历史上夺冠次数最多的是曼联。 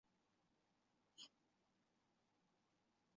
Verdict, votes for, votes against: rejected, 0, 2